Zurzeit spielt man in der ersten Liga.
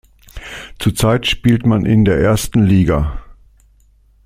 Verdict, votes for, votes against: accepted, 2, 0